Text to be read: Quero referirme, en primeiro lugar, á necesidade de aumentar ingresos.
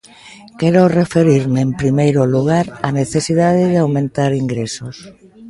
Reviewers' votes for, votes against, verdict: 1, 2, rejected